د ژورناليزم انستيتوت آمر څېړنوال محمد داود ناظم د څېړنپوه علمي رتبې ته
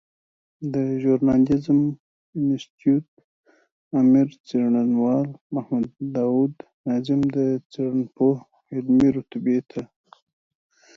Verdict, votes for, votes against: rejected, 1, 2